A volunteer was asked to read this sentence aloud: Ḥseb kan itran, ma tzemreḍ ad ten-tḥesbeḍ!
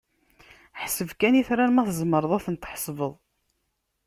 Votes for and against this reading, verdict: 2, 0, accepted